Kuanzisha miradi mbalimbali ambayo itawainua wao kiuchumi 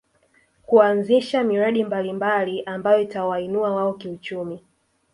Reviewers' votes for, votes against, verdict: 3, 1, accepted